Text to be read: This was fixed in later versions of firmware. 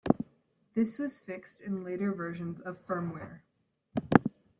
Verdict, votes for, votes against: rejected, 1, 2